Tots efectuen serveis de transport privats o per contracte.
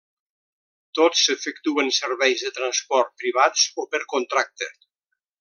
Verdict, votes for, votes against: accepted, 2, 0